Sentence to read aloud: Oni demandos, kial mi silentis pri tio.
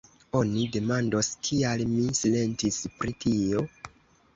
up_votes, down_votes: 1, 3